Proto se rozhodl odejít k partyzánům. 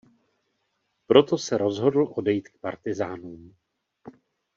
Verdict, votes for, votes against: accepted, 2, 0